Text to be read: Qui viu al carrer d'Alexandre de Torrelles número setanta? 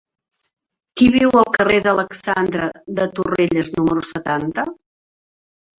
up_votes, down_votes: 1, 2